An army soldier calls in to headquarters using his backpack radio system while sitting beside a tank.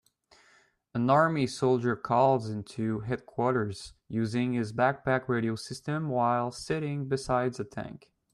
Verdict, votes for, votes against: rejected, 1, 2